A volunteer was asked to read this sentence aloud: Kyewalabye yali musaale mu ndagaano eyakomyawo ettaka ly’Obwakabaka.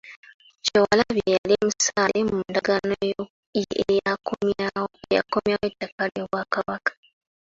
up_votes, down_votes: 1, 2